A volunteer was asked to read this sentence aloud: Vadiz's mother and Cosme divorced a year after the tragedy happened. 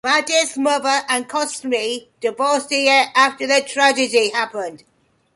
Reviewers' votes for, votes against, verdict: 2, 0, accepted